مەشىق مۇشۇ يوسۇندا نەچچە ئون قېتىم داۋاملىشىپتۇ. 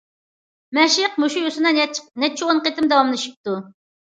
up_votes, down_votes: 0, 2